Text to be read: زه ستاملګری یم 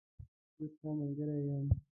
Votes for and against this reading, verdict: 1, 2, rejected